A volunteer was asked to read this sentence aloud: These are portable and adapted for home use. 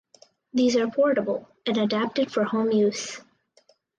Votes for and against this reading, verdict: 4, 0, accepted